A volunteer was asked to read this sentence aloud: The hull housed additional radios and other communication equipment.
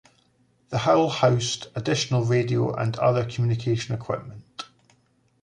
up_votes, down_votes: 2, 1